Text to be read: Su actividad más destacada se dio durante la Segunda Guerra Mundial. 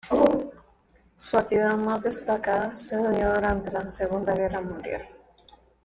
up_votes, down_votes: 1, 2